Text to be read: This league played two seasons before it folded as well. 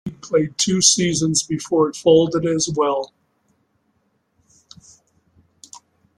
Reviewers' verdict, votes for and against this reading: rejected, 0, 2